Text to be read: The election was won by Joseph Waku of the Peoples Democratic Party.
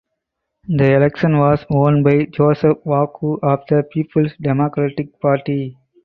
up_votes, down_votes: 4, 0